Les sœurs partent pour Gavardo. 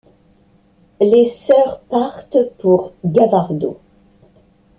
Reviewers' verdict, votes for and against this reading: accepted, 2, 0